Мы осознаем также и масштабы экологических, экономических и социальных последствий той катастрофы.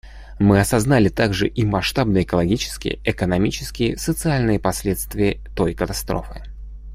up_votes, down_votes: 1, 2